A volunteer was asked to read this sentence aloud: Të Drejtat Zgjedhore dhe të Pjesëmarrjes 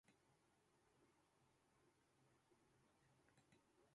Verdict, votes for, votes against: rejected, 0, 2